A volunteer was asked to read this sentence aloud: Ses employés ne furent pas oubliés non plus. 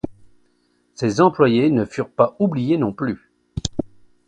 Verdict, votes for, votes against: accepted, 2, 0